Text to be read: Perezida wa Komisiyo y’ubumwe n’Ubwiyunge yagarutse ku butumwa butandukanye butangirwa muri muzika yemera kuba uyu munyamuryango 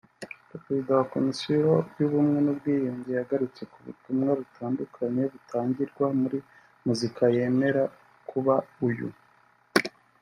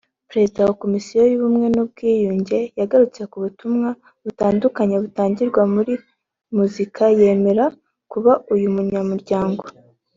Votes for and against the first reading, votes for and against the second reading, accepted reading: 0, 2, 3, 0, second